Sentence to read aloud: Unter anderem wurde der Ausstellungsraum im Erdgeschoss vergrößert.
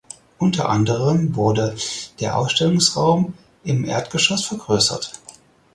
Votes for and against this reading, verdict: 4, 0, accepted